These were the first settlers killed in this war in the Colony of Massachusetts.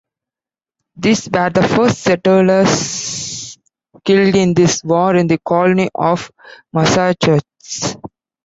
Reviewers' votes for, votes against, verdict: 0, 2, rejected